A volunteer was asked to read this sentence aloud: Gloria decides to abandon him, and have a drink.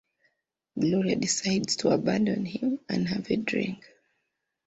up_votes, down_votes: 2, 1